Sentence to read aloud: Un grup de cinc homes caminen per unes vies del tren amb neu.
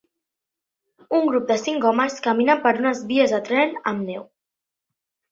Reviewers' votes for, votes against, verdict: 0, 2, rejected